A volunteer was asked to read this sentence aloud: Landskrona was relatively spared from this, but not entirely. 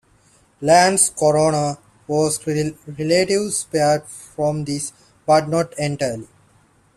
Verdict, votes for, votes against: rejected, 0, 2